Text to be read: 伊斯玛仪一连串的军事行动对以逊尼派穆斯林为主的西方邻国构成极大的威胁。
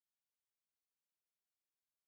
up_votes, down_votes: 1, 2